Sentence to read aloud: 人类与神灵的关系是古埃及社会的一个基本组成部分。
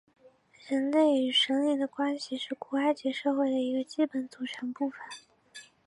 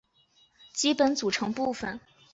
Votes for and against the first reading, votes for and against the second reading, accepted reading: 8, 1, 0, 5, first